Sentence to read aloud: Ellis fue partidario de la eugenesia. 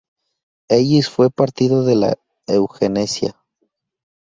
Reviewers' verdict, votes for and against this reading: rejected, 0, 2